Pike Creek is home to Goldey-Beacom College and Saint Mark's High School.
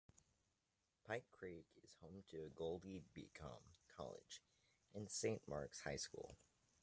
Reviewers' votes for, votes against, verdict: 1, 2, rejected